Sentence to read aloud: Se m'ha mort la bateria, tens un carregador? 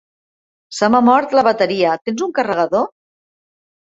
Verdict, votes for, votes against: accepted, 2, 0